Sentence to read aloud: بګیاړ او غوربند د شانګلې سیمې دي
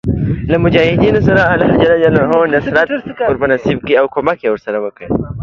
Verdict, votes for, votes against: rejected, 0, 2